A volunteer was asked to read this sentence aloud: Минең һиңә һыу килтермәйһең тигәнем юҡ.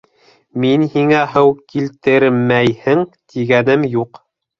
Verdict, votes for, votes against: rejected, 1, 2